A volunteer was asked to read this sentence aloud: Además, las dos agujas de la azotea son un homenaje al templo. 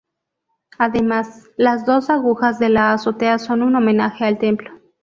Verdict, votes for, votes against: accepted, 2, 0